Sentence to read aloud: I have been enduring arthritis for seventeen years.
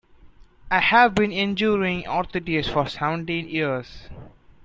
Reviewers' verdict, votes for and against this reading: rejected, 0, 2